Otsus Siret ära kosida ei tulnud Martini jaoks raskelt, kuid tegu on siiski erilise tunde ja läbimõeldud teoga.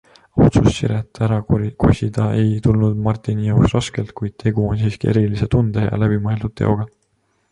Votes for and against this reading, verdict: 2, 0, accepted